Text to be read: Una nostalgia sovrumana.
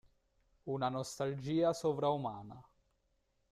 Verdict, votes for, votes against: rejected, 1, 2